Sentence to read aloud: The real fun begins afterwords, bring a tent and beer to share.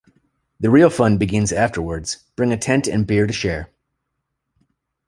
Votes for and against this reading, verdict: 2, 0, accepted